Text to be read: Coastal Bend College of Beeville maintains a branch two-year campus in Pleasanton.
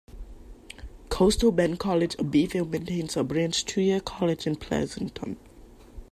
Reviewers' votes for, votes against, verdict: 0, 2, rejected